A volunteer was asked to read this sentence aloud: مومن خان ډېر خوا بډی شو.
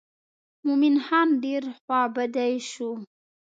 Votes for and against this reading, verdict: 2, 0, accepted